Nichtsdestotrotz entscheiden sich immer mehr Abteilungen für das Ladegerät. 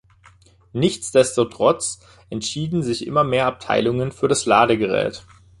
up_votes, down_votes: 0, 2